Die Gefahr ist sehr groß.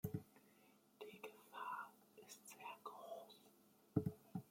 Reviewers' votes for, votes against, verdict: 2, 0, accepted